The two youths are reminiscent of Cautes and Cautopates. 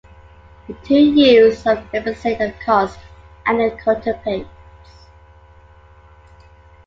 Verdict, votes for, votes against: accepted, 2, 1